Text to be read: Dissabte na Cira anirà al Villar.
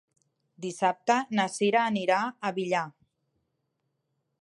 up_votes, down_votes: 1, 2